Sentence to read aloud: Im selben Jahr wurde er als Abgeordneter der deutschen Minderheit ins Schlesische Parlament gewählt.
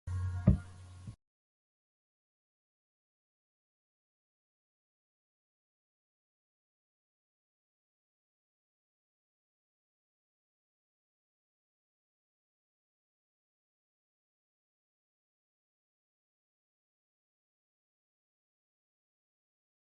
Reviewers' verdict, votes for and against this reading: rejected, 0, 2